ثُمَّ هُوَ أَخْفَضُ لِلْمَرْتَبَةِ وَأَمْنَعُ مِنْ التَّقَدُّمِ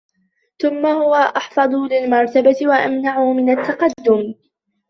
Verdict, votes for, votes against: accepted, 2, 0